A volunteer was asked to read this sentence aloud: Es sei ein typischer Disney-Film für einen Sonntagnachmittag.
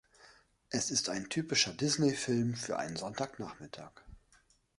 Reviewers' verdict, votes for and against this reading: rejected, 0, 2